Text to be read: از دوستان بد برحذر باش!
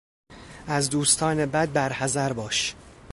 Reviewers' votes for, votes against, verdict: 2, 0, accepted